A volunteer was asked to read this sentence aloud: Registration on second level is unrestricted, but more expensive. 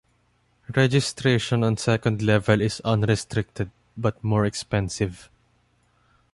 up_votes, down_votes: 2, 0